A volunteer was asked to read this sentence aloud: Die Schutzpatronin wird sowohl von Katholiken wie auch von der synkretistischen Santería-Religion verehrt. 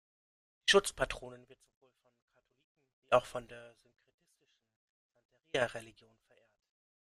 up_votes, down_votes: 0, 2